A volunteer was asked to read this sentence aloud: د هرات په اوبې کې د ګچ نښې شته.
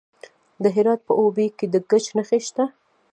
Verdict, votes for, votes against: rejected, 1, 2